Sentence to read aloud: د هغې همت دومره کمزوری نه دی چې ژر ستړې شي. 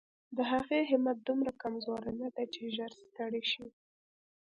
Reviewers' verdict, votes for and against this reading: accepted, 2, 0